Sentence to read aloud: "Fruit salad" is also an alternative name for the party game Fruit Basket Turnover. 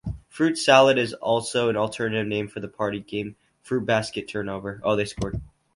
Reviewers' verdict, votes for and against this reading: rejected, 0, 2